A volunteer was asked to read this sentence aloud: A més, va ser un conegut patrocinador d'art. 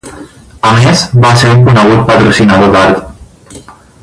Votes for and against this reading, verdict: 0, 4, rejected